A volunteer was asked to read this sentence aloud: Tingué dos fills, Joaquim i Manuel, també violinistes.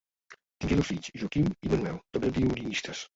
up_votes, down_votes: 1, 2